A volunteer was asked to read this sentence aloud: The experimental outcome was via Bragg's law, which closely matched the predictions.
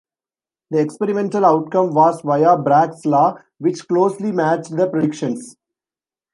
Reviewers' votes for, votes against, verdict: 1, 2, rejected